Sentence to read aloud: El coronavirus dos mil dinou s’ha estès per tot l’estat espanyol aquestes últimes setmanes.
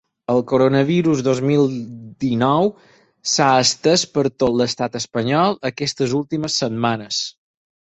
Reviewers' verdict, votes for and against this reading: accepted, 6, 0